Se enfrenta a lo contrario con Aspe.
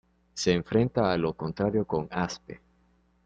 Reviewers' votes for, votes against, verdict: 2, 0, accepted